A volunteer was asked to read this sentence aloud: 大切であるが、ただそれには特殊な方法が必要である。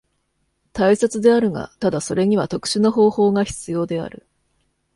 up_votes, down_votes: 2, 0